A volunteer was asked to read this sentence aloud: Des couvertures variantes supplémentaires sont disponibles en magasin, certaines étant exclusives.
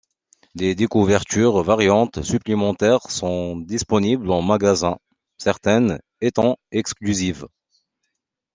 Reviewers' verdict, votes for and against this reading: rejected, 0, 2